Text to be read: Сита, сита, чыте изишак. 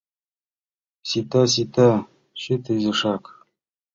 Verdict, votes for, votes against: accepted, 2, 0